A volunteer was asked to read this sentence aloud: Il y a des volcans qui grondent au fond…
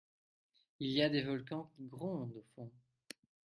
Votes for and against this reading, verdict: 2, 1, accepted